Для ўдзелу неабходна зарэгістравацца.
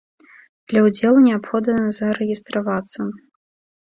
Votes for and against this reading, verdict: 0, 2, rejected